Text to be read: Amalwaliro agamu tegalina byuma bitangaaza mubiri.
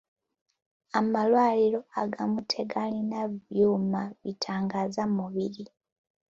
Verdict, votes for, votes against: accepted, 2, 0